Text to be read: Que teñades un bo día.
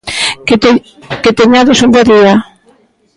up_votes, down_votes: 0, 3